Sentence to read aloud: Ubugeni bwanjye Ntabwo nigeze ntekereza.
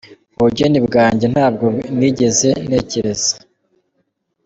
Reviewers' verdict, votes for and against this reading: accepted, 2, 0